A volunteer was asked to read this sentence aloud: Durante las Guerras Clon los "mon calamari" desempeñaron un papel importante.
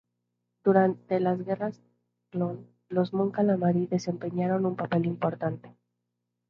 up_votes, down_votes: 2, 0